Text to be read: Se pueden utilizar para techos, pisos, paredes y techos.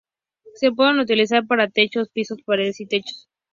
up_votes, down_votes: 4, 0